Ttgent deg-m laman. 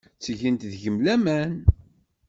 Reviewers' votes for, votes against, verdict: 2, 0, accepted